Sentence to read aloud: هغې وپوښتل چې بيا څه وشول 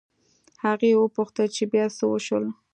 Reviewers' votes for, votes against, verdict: 2, 0, accepted